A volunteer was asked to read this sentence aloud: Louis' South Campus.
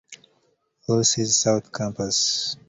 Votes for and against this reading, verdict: 2, 0, accepted